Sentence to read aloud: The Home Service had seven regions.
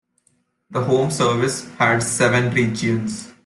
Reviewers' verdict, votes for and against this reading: accepted, 2, 1